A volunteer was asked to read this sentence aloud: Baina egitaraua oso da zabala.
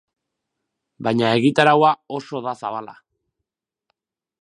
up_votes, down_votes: 4, 0